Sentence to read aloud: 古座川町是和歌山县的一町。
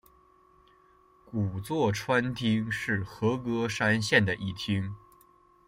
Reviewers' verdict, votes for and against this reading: rejected, 1, 2